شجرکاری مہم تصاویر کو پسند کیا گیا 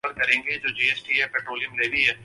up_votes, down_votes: 0, 4